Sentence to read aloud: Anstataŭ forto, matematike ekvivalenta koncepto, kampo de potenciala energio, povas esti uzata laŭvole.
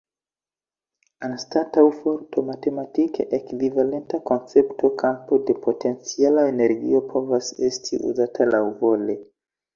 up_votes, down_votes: 2, 0